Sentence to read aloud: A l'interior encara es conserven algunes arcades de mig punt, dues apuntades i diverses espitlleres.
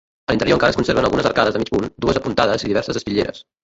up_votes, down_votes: 0, 2